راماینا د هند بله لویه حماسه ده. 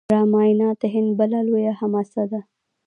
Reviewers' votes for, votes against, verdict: 0, 2, rejected